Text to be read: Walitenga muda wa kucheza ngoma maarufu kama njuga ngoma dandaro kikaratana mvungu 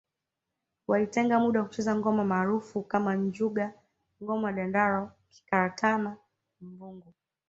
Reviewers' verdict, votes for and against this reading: rejected, 0, 2